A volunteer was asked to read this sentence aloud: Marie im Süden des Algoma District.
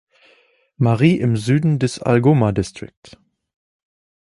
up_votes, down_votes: 1, 2